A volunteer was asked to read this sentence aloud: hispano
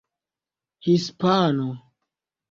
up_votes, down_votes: 2, 0